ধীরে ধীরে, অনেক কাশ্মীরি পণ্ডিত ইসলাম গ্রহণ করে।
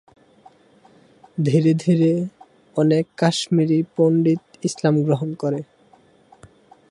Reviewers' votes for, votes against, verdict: 6, 0, accepted